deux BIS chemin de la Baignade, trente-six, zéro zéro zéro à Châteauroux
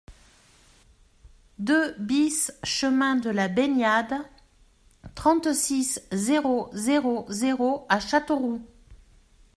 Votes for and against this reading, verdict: 2, 0, accepted